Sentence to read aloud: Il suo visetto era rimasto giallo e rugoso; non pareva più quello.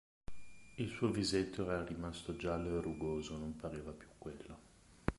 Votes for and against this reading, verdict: 0, 2, rejected